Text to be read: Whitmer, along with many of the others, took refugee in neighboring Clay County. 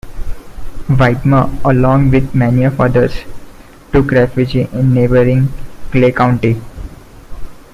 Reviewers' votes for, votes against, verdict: 2, 0, accepted